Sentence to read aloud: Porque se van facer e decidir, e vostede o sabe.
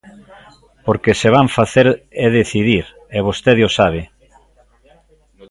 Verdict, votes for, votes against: rejected, 0, 2